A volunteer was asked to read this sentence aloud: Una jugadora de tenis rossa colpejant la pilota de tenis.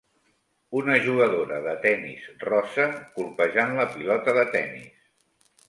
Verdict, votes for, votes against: accepted, 2, 0